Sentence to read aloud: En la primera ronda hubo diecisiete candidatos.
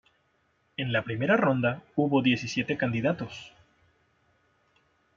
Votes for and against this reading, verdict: 2, 0, accepted